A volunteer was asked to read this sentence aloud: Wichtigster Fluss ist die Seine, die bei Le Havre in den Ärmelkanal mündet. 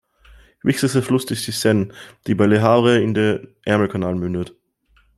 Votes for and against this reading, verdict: 1, 2, rejected